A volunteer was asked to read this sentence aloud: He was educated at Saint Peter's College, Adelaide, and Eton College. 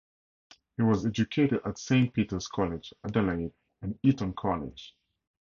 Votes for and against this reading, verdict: 4, 0, accepted